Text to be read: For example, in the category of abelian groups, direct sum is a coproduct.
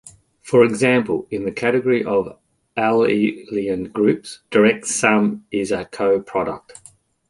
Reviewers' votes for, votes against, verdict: 1, 2, rejected